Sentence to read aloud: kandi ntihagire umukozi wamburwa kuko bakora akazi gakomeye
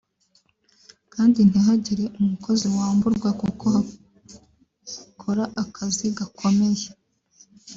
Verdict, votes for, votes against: rejected, 1, 2